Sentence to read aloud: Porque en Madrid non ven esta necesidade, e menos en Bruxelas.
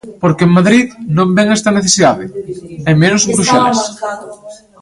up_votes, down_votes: 1, 2